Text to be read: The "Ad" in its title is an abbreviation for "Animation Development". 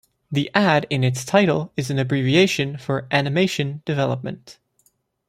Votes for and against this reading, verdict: 2, 0, accepted